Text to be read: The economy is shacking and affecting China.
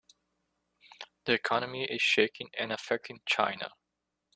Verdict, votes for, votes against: rejected, 1, 2